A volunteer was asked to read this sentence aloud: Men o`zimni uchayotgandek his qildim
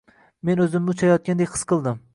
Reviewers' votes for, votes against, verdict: 2, 0, accepted